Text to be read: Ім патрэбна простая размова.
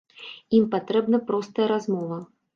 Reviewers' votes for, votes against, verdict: 2, 0, accepted